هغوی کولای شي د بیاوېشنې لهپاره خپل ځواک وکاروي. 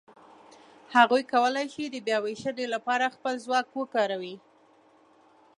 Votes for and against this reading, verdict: 2, 0, accepted